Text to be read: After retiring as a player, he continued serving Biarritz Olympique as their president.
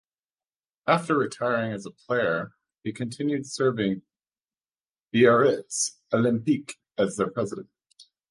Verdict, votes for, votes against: accepted, 3, 0